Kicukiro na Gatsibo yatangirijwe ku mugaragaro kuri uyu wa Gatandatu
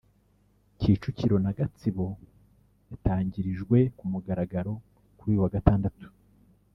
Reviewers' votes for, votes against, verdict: 0, 2, rejected